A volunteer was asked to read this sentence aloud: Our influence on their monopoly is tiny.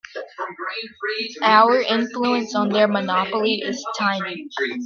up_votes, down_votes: 1, 2